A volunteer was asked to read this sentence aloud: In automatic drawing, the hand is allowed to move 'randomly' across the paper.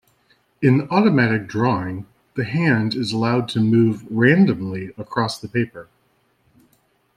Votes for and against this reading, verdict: 2, 0, accepted